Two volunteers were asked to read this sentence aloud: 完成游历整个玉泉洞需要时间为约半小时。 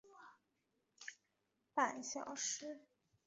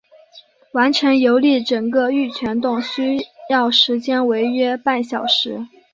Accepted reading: second